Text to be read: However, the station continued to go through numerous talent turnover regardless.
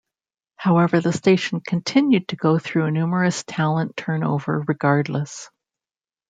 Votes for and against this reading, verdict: 2, 1, accepted